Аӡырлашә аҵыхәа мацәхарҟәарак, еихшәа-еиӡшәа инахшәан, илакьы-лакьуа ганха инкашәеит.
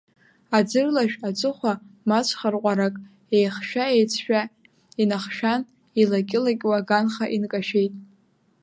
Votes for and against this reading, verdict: 1, 2, rejected